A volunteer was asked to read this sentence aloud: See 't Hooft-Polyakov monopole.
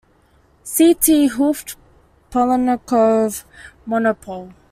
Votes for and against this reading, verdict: 2, 1, accepted